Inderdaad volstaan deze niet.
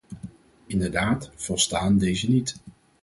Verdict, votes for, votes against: accepted, 4, 0